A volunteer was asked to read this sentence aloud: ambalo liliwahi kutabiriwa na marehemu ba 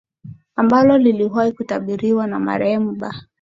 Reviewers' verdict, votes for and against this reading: accepted, 2, 0